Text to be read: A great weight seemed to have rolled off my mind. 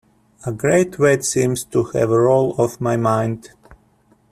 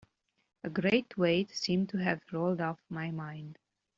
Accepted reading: second